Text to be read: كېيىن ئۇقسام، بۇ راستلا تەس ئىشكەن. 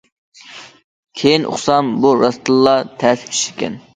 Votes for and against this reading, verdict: 0, 2, rejected